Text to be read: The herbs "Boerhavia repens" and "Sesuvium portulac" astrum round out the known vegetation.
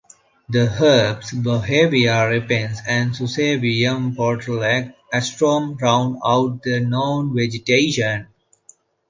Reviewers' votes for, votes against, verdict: 0, 2, rejected